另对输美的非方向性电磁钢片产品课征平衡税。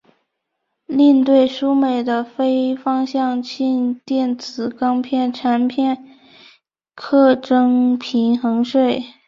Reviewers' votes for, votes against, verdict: 2, 0, accepted